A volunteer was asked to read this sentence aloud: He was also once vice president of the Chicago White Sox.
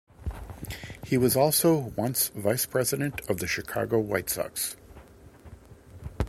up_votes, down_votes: 2, 0